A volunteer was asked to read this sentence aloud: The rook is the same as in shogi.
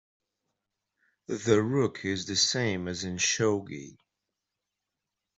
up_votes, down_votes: 2, 0